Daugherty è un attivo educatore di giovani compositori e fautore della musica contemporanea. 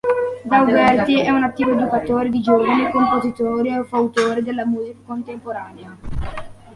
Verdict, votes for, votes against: rejected, 1, 2